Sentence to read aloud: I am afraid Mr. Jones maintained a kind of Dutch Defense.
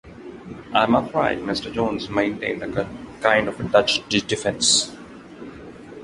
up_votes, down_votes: 0, 2